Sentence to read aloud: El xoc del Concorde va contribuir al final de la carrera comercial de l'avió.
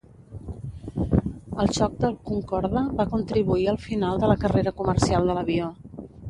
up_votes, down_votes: 0, 2